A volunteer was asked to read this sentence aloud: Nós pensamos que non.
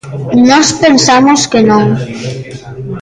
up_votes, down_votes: 1, 2